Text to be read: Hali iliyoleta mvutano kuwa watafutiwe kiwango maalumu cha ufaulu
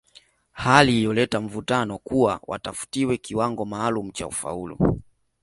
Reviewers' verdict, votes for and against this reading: accepted, 2, 0